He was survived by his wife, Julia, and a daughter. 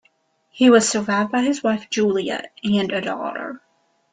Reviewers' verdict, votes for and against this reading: accepted, 2, 0